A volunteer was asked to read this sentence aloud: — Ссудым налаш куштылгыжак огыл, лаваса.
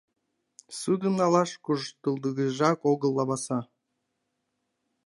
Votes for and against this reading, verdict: 1, 2, rejected